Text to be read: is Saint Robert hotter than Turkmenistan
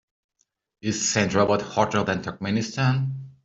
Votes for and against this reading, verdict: 2, 0, accepted